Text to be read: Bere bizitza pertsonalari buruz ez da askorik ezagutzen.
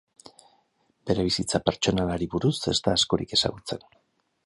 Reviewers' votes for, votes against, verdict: 2, 0, accepted